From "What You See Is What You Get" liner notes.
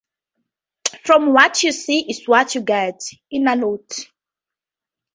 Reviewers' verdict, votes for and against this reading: rejected, 2, 2